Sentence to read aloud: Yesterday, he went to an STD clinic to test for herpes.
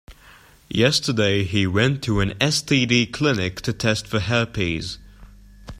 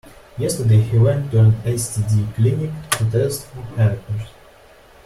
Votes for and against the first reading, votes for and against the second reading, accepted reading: 2, 0, 1, 2, first